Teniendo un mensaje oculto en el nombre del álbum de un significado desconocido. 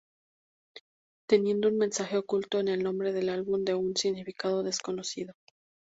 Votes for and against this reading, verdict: 4, 0, accepted